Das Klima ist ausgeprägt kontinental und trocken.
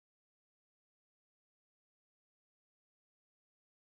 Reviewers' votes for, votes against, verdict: 0, 2, rejected